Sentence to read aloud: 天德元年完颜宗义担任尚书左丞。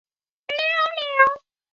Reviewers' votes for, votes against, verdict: 0, 3, rejected